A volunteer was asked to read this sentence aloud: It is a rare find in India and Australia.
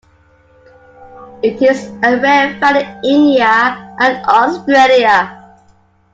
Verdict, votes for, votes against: accepted, 2, 1